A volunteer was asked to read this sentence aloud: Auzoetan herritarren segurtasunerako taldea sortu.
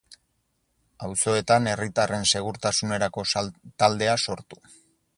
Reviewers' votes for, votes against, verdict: 0, 4, rejected